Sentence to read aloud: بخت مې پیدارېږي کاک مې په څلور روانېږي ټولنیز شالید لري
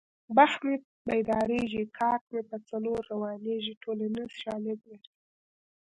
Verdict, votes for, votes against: accepted, 2, 0